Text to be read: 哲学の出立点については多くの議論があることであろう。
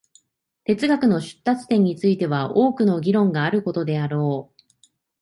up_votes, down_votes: 2, 0